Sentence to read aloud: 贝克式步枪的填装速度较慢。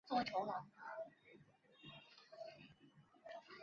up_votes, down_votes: 0, 2